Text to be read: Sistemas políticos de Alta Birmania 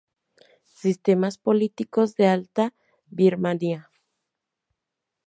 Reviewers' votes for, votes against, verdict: 2, 0, accepted